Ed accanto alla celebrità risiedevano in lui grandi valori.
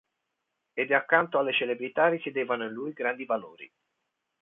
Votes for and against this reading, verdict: 0, 2, rejected